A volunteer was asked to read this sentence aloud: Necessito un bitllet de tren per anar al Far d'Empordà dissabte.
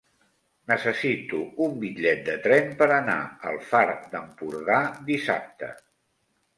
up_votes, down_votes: 3, 0